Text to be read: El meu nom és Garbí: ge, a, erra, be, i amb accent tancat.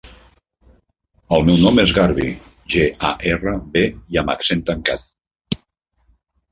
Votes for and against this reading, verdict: 0, 2, rejected